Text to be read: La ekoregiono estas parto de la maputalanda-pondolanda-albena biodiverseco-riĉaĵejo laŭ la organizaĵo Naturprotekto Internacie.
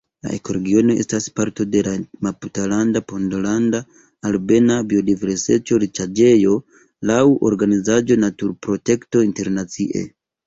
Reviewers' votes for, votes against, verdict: 0, 2, rejected